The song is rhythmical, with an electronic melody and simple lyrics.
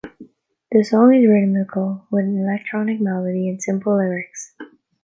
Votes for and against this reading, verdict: 2, 1, accepted